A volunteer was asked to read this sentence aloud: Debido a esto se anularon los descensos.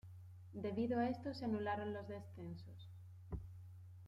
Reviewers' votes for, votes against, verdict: 2, 1, accepted